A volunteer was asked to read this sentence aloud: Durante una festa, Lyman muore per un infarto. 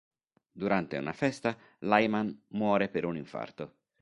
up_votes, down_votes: 2, 0